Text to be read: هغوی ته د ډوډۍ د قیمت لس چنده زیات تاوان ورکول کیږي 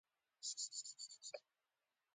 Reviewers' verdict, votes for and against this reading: rejected, 0, 2